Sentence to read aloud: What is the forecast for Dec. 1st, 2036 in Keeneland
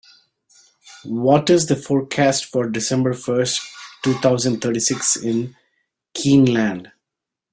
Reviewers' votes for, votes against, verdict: 0, 2, rejected